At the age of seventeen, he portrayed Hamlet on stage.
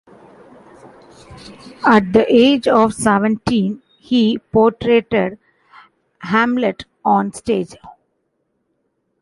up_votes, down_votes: 2, 0